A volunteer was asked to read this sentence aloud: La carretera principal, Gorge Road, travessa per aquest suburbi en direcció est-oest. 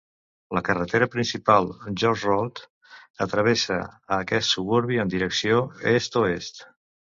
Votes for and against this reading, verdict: 1, 2, rejected